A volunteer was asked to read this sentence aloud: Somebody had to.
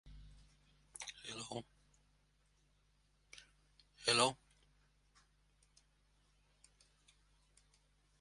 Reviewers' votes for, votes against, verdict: 0, 2, rejected